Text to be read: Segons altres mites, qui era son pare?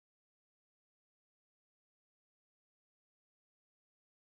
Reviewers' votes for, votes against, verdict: 0, 2, rejected